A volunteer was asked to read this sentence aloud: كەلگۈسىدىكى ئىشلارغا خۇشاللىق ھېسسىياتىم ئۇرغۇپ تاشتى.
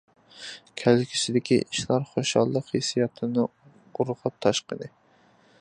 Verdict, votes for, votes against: rejected, 0, 2